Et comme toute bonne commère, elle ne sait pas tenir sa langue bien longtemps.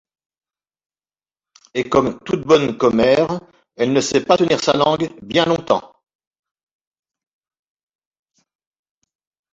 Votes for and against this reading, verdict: 1, 2, rejected